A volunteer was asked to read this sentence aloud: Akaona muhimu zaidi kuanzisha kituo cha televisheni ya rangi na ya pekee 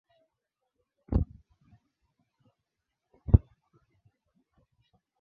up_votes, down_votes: 2, 13